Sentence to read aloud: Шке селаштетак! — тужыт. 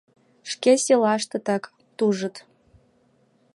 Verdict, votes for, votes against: accepted, 2, 0